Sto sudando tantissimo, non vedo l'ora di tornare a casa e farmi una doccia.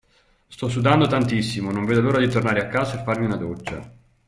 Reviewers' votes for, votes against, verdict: 2, 0, accepted